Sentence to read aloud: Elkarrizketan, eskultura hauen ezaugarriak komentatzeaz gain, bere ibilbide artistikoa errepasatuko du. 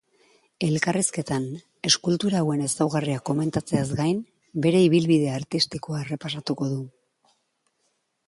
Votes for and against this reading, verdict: 2, 0, accepted